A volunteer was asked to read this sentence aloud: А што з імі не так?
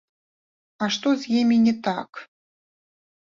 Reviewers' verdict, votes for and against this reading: accepted, 2, 0